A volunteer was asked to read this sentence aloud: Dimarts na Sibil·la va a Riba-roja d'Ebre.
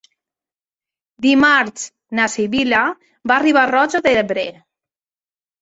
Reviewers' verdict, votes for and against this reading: accepted, 3, 0